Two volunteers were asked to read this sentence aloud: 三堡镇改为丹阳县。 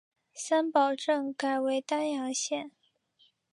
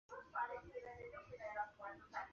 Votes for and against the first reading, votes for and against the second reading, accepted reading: 2, 0, 0, 2, first